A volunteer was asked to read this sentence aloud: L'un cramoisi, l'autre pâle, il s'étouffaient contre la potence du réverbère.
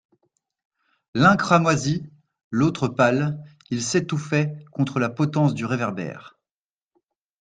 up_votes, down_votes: 2, 0